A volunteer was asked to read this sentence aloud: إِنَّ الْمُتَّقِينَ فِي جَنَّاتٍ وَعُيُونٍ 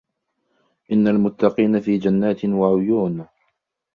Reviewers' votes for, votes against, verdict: 1, 2, rejected